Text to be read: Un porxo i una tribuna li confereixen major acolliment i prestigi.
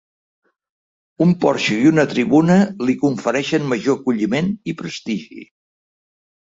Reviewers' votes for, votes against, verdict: 2, 0, accepted